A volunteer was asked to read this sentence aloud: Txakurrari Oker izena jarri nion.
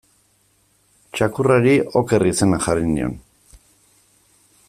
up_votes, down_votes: 2, 0